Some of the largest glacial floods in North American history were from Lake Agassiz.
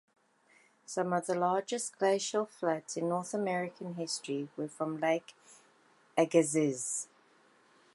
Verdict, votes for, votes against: accepted, 2, 0